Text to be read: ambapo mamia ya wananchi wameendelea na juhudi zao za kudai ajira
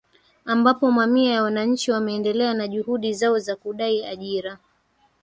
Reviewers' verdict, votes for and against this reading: rejected, 1, 2